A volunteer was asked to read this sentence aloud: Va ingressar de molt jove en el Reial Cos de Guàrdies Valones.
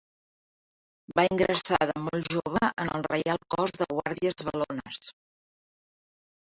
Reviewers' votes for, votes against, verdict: 2, 1, accepted